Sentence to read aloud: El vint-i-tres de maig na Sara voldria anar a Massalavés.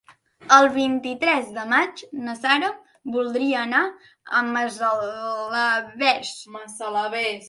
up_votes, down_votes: 0, 2